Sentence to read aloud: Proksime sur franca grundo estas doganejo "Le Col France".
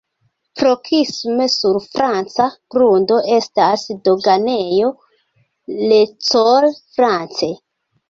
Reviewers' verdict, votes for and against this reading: rejected, 1, 2